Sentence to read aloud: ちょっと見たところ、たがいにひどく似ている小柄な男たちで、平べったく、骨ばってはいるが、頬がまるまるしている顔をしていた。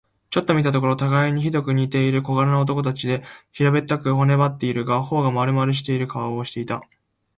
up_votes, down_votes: 0, 2